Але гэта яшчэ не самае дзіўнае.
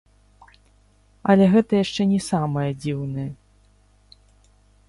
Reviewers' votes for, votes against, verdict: 1, 3, rejected